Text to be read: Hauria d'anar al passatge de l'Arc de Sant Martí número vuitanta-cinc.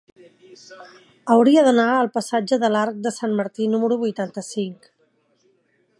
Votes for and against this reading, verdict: 3, 0, accepted